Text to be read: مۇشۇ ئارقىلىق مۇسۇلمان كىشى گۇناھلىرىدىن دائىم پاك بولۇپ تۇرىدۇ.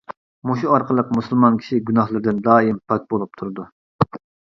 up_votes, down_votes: 2, 0